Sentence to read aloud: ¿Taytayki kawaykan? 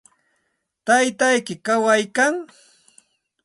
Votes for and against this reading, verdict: 2, 0, accepted